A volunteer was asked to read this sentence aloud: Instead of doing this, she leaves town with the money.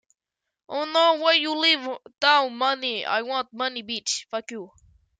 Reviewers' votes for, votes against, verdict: 1, 2, rejected